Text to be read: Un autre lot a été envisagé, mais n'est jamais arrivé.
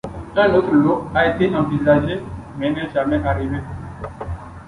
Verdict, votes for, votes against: accepted, 2, 1